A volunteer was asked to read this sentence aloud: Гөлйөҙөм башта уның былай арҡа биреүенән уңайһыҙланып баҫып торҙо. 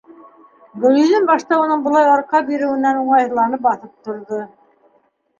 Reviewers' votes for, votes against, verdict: 2, 1, accepted